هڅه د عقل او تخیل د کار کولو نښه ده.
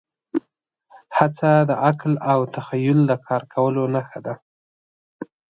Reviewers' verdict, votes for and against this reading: accepted, 2, 0